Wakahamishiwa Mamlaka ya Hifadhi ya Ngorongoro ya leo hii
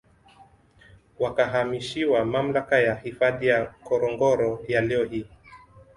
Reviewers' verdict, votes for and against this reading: accepted, 2, 1